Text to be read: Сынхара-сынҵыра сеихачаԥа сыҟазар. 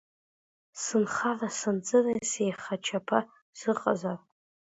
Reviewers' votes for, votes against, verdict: 0, 2, rejected